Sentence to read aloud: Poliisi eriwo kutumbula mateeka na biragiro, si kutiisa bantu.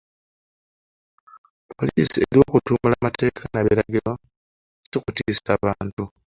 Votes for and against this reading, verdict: 0, 2, rejected